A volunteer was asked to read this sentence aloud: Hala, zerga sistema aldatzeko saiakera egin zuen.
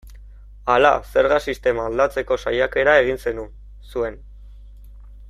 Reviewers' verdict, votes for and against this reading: rejected, 1, 2